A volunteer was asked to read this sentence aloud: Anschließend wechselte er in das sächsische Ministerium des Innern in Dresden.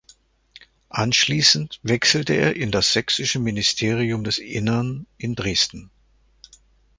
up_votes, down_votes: 2, 0